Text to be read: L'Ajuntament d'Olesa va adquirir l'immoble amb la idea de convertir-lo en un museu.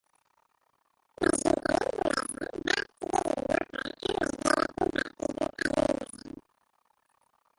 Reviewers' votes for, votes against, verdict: 0, 3, rejected